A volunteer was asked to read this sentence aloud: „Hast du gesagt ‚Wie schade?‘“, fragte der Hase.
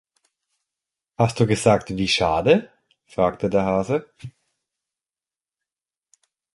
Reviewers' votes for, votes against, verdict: 2, 0, accepted